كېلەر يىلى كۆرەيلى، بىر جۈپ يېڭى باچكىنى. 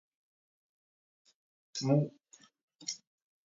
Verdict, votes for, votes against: rejected, 0, 2